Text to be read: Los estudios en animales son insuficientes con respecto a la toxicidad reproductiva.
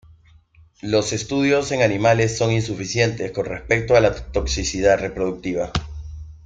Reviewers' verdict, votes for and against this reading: rejected, 0, 2